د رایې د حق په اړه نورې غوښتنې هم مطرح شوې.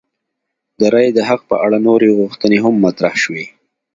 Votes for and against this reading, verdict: 2, 0, accepted